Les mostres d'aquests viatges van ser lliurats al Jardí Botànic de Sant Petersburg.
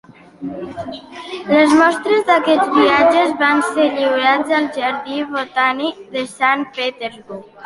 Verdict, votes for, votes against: accepted, 2, 1